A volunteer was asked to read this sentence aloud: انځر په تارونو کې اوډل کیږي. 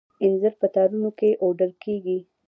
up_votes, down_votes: 2, 0